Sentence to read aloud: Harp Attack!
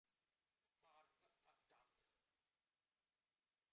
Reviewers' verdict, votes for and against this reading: rejected, 0, 2